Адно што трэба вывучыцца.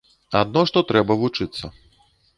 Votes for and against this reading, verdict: 1, 2, rejected